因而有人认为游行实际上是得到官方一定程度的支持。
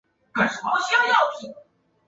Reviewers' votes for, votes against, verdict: 0, 5, rejected